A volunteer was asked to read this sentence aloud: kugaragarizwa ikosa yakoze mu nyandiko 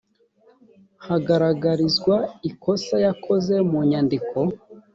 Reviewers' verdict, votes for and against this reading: rejected, 1, 2